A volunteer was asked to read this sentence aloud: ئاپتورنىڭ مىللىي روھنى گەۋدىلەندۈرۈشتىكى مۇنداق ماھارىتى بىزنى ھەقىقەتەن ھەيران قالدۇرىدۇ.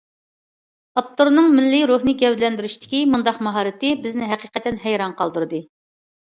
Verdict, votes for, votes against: rejected, 0, 2